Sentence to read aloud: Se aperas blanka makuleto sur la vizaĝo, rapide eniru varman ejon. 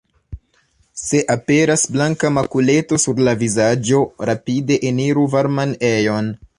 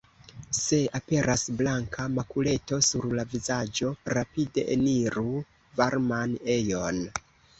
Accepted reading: second